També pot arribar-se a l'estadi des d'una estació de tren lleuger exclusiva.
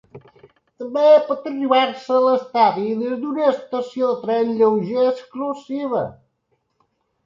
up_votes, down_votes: 1, 3